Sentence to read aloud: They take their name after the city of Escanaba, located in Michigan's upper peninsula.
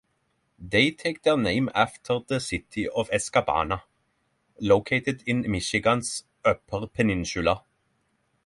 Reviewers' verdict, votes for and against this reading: rejected, 3, 6